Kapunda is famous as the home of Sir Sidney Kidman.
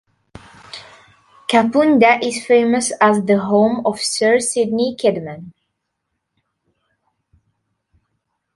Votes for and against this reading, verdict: 3, 0, accepted